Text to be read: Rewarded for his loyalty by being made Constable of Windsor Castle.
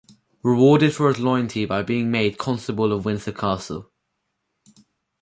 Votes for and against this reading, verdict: 4, 0, accepted